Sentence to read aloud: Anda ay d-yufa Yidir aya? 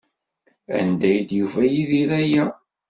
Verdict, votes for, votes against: accepted, 2, 0